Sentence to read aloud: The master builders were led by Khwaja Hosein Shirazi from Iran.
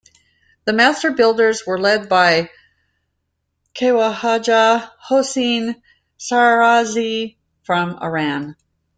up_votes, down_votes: 1, 2